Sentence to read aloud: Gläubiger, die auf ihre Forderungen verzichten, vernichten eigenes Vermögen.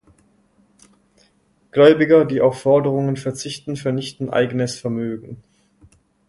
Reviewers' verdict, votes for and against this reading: rejected, 0, 4